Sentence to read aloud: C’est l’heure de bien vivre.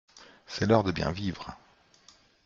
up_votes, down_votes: 2, 0